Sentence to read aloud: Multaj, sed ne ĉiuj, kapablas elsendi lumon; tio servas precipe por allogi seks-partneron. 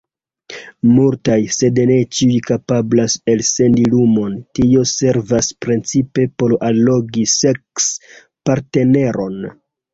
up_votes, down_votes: 1, 2